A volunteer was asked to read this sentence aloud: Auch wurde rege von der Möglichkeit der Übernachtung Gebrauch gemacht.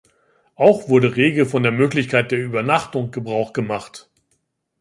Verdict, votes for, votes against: accepted, 2, 0